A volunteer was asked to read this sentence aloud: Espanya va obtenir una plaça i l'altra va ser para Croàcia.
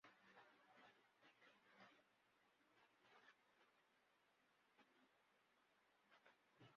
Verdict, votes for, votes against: rejected, 0, 2